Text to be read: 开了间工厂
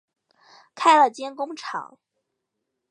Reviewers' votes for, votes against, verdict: 5, 0, accepted